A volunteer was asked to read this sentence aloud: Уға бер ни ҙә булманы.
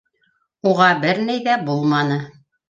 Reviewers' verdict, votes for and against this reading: rejected, 0, 2